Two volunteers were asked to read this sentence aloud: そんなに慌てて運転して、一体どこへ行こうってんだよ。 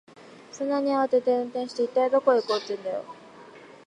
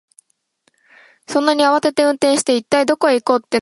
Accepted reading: first